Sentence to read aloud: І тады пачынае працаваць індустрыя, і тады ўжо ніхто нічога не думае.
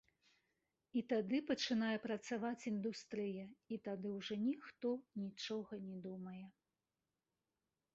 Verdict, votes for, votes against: accepted, 2, 1